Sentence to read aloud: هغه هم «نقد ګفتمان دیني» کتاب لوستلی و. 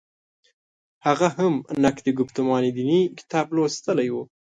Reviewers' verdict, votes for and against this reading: accepted, 2, 0